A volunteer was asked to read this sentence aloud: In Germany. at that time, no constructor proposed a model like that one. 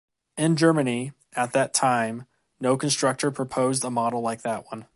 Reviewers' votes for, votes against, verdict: 2, 0, accepted